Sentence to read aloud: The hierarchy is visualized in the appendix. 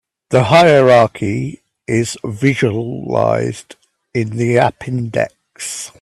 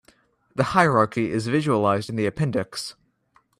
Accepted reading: second